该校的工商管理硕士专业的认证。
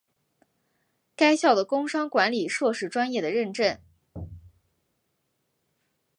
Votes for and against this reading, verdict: 2, 0, accepted